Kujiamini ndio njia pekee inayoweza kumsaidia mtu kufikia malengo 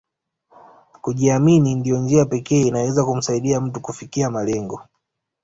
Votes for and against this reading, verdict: 2, 1, accepted